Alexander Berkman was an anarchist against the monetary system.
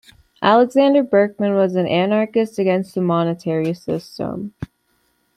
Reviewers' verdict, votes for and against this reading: accepted, 2, 0